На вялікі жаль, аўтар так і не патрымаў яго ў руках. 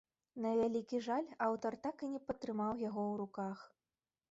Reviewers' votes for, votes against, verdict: 2, 0, accepted